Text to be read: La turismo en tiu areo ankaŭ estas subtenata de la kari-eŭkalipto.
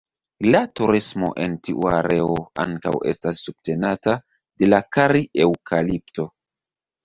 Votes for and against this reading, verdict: 2, 0, accepted